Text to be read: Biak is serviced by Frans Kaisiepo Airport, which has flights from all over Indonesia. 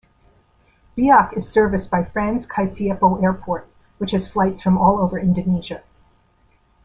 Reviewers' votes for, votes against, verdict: 2, 0, accepted